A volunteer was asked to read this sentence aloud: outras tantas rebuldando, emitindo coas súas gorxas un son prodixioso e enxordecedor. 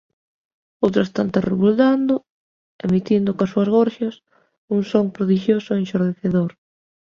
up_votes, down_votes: 3, 0